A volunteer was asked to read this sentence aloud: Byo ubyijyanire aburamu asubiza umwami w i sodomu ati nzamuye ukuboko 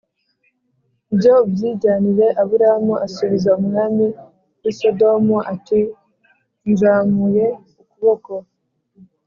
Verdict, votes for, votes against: rejected, 1, 2